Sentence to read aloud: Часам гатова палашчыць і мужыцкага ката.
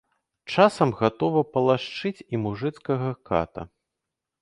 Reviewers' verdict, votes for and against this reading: rejected, 0, 2